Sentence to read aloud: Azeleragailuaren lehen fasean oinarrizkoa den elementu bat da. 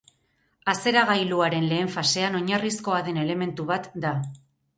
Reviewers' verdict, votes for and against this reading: rejected, 0, 4